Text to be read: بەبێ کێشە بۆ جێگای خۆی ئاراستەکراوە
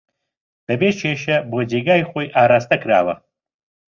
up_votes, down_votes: 2, 0